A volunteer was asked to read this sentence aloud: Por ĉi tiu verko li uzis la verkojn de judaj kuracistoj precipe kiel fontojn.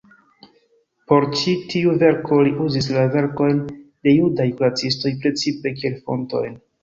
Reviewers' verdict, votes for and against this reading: accepted, 2, 1